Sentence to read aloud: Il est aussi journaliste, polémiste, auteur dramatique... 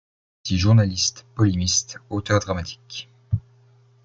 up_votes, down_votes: 0, 2